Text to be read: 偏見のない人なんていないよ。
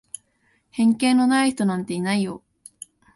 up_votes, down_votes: 2, 0